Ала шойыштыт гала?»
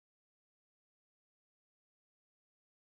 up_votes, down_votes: 0, 2